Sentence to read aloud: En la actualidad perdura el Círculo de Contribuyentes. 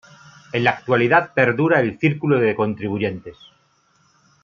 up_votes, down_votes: 2, 0